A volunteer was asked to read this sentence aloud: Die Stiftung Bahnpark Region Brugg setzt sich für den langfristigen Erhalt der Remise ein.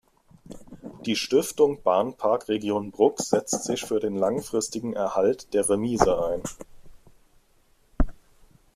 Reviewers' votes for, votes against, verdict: 2, 0, accepted